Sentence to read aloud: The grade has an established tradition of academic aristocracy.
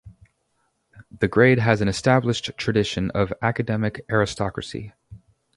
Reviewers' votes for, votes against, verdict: 2, 0, accepted